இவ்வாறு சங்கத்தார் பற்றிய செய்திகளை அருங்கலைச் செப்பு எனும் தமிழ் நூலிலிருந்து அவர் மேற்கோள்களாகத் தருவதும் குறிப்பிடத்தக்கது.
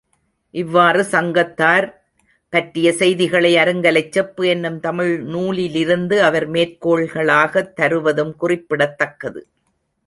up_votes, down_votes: 3, 0